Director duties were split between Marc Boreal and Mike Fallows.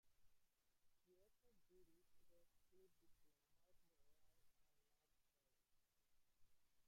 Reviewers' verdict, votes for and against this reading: rejected, 0, 2